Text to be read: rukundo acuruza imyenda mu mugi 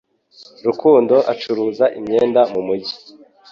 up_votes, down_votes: 2, 0